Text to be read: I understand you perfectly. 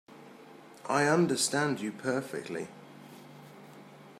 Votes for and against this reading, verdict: 2, 0, accepted